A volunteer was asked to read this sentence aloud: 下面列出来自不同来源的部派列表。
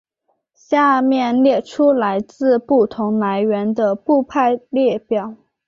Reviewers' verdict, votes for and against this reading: accepted, 3, 0